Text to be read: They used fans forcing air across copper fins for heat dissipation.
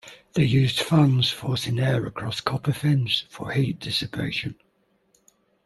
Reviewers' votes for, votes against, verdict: 2, 0, accepted